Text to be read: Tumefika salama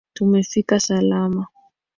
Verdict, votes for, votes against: accepted, 2, 0